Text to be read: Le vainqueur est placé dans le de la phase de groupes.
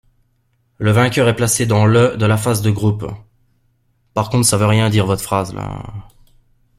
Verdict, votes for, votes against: rejected, 0, 2